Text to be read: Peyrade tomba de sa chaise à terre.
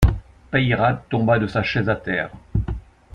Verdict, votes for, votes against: accepted, 2, 0